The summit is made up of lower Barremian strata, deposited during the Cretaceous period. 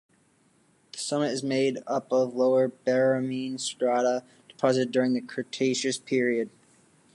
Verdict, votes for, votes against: rejected, 1, 2